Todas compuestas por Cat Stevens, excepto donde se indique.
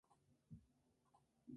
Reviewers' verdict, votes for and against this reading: rejected, 0, 2